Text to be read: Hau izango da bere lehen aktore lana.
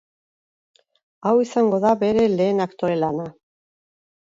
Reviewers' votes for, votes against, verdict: 2, 2, rejected